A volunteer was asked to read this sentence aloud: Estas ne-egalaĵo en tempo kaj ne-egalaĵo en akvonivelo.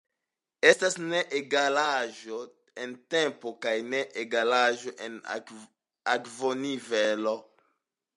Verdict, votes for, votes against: accepted, 2, 1